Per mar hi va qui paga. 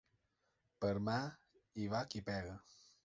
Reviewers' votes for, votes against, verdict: 0, 2, rejected